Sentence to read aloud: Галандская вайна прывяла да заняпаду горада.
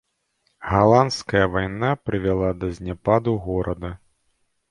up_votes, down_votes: 0, 2